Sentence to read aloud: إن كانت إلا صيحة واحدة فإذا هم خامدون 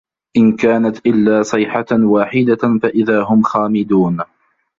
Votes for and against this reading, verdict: 1, 2, rejected